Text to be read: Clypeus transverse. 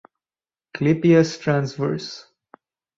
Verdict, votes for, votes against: rejected, 2, 2